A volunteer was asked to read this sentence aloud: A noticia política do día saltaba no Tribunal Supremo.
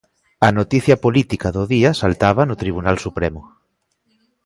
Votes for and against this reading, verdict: 2, 0, accepted